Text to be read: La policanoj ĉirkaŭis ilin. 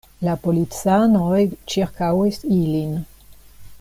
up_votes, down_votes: 2, 0